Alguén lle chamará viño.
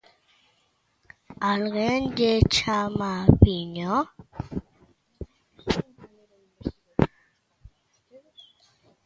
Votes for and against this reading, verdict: 0, 2, rejected